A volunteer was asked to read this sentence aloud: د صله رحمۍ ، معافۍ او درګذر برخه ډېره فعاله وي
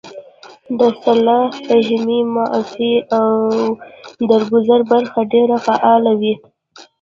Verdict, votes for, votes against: rejected, 1, 2